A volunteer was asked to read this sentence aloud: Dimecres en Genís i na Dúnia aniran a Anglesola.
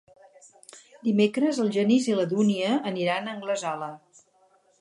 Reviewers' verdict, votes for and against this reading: rejected, 2, 2